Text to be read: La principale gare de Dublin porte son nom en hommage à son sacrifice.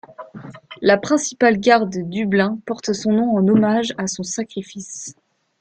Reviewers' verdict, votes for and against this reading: accepted, 2, 0